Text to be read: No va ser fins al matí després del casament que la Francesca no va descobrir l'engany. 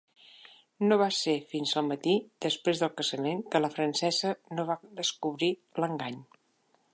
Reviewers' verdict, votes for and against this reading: rejected, 0, 2